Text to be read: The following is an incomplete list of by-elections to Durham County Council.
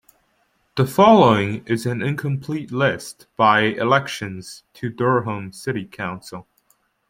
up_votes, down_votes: 0, 2